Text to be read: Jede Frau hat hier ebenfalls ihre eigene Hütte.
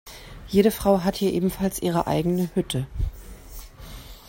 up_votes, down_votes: 2, 0